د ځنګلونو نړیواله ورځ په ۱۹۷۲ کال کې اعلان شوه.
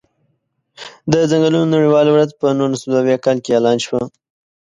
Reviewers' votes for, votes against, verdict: 0, 2, rejected